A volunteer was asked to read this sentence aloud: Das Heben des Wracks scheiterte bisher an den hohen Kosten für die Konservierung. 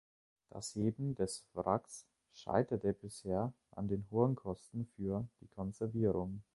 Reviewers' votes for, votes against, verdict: 1, 2, rejected